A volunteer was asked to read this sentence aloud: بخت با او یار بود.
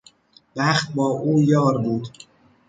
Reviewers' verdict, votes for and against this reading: accepted, 2, 0